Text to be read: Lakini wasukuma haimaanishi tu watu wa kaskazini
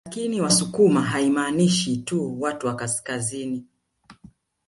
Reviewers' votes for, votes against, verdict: 0, 2, rejected